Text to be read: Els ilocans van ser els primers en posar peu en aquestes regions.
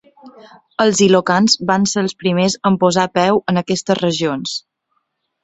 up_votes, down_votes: 2, 0